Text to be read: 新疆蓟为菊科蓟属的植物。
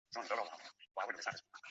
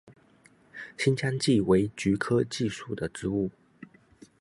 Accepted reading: second